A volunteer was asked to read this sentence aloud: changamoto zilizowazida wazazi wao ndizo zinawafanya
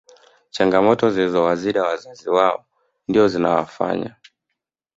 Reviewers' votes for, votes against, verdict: 1, 2, rejected